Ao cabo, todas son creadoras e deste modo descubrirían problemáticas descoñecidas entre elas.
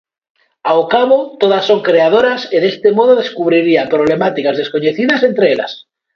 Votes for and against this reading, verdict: 1, 2, rejected